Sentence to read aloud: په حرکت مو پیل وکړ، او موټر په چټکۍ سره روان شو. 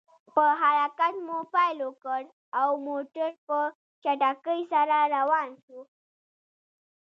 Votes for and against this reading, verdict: 1, 2, rejected